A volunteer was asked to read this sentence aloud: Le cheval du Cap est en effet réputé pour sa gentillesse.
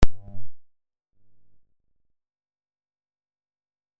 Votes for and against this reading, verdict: 0, 2, rejected